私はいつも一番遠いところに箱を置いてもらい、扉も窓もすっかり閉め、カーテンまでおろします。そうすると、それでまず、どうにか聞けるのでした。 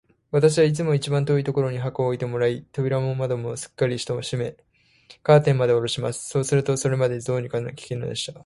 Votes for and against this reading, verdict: 0, 2, rejected